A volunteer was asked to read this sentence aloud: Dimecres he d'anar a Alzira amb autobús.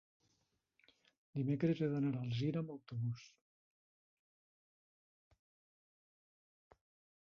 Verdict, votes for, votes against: rejected, 1, 2